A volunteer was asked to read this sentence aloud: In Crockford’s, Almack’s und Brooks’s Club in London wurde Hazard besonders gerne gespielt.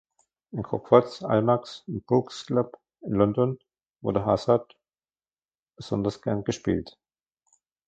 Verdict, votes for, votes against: accepted, 2, 1